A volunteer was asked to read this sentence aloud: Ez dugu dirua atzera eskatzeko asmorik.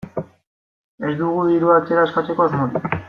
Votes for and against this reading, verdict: 2, 0, accepted